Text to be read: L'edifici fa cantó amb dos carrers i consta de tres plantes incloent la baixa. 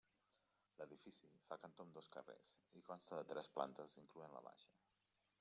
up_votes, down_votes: 1, 3